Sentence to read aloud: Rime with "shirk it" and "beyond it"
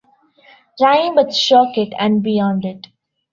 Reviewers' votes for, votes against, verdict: 1, 2, rejected